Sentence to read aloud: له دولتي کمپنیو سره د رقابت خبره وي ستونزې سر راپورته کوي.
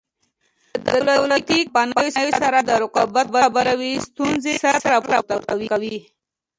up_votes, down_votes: 1, 2